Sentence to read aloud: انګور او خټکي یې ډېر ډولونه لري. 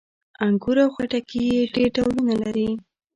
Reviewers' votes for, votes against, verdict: 1, 2, rejected